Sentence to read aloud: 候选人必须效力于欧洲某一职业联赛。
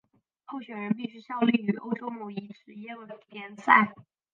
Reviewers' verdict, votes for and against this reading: rejected, 1, 3